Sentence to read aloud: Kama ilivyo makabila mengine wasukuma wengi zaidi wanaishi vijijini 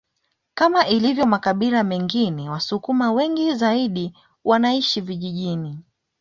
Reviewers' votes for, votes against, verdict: 2, 0, accepted